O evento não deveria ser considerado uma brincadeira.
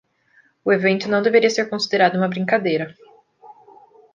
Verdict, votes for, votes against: accepted, 2, 0